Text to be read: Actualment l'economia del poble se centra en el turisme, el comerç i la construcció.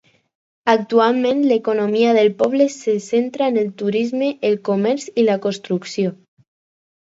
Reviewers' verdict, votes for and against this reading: accepted, 4, 0